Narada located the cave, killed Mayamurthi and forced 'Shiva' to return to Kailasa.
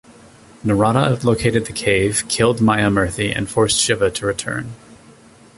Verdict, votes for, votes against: rejected, 0, 2